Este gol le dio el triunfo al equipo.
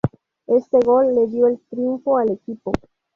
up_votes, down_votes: 0, 2